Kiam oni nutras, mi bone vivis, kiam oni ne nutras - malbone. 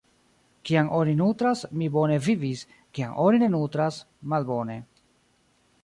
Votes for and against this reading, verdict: 1, 2, rejected